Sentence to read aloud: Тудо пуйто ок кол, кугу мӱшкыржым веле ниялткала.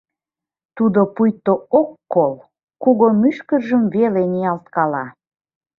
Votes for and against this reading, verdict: 2, 0, accepted